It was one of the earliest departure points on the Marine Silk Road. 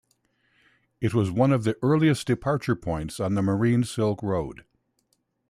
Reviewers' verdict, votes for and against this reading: accepted, 2, 0